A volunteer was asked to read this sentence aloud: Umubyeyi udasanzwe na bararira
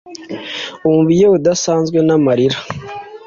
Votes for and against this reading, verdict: 1, 2, rejected